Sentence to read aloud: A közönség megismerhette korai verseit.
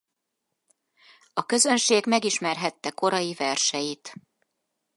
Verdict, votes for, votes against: accepted, 4, 0